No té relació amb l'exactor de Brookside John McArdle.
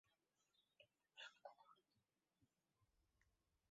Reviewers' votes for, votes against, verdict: 0, 4, rejected